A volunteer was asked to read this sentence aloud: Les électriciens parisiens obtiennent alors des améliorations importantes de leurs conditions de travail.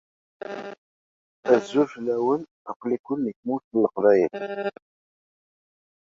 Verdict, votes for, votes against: rejected, 0, 2